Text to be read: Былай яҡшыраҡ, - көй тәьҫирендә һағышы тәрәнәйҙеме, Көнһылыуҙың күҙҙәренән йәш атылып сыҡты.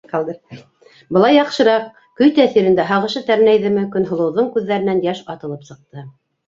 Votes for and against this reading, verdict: 0, 2, rejected